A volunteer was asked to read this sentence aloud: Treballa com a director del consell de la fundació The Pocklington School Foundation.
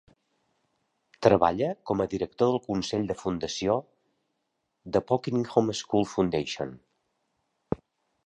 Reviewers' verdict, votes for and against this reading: rejected, 1, 2